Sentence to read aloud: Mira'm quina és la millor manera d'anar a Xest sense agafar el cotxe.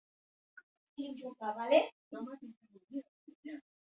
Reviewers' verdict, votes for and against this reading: rejected, 0, 2